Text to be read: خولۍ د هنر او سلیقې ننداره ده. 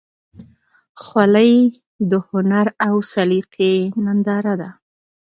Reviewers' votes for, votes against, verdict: 2, 0, accepted